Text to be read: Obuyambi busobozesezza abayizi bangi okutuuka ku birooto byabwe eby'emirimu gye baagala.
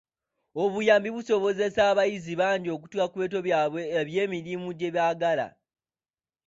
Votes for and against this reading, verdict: 2, 1, accepted